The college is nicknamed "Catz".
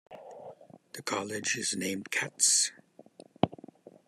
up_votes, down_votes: 1, 2